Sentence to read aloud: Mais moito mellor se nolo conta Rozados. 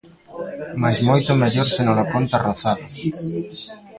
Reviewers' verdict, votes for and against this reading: rejected, 1, 2